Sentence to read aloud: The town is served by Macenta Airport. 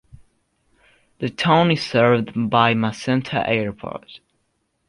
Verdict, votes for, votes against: accepted, 2, 0